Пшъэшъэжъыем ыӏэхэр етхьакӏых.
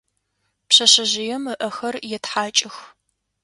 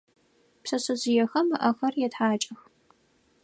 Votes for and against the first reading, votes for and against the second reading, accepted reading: 2, 0, 0, 4, first